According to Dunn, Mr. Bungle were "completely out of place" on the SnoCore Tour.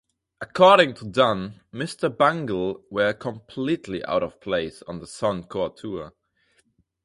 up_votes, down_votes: 0, 2